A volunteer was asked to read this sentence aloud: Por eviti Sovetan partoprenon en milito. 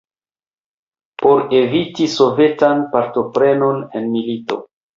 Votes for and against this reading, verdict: 1, 2, rejected